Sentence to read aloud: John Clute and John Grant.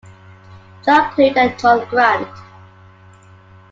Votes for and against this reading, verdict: 1, 2, rejected